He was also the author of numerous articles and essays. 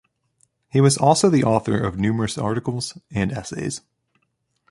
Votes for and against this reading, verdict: 3, 0, accepted